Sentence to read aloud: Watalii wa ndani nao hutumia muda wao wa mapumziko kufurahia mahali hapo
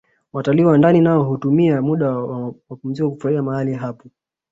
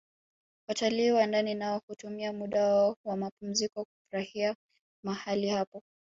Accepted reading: second